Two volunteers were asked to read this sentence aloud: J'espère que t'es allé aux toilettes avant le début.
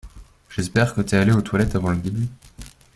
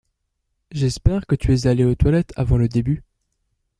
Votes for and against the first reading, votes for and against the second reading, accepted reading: 2, 0, 0, 2, first